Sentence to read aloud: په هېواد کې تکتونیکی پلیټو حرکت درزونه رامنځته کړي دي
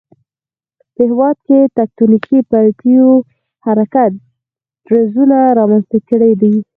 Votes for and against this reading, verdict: 2, 4, rejected